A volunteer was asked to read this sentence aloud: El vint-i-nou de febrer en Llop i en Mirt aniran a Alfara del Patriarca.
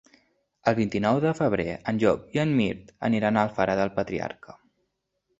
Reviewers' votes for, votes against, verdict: 3, 0, accepted